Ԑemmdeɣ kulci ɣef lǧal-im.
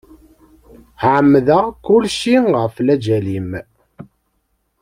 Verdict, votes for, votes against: rejected, 1, 2